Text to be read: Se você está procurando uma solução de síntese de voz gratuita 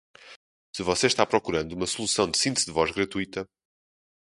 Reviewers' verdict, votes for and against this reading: accepted, 2, 0